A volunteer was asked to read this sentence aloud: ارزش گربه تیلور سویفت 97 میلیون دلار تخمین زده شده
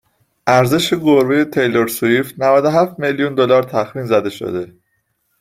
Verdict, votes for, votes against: rejected, 0, 2